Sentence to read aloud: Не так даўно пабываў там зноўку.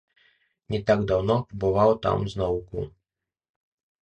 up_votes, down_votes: 0, 2